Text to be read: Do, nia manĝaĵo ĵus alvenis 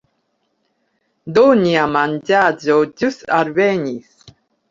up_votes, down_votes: 2, 0